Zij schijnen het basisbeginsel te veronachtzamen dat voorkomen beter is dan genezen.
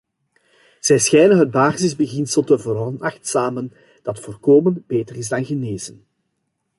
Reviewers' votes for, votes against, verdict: 2, 0, accepted